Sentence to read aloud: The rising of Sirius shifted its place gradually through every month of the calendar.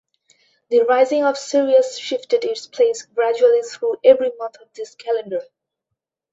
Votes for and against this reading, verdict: 2, 0, accepted